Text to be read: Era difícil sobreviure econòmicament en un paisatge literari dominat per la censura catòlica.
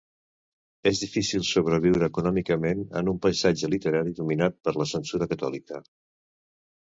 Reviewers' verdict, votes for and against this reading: rejected, 1, 2